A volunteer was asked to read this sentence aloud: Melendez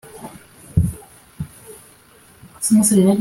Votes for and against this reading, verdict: 0, 2, rejected